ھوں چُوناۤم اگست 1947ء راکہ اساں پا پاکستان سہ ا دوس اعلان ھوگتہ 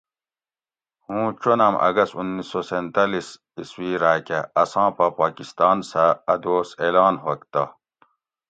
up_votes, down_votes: 0, 2